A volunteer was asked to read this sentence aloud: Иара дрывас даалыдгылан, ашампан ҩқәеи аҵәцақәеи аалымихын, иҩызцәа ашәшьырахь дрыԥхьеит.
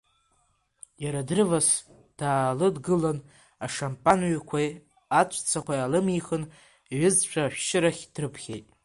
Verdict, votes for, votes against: accepted, 2, 1